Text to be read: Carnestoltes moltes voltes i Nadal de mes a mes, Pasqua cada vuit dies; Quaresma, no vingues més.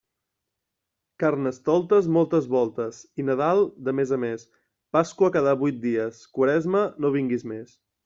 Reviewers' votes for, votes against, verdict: 2, 0, accepted